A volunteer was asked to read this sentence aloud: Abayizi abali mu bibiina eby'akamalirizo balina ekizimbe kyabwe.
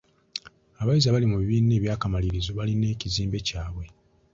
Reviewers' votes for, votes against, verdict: 2, 0, accepted